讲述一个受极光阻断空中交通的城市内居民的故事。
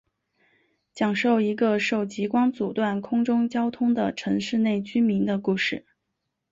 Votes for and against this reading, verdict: 2, 0, accepted